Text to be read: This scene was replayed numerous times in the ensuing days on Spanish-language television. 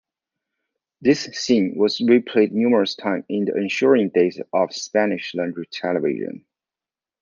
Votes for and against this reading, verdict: 1, 2, rejected